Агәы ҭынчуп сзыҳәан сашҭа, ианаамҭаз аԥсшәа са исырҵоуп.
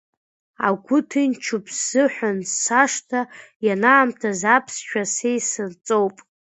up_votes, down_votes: 2, 1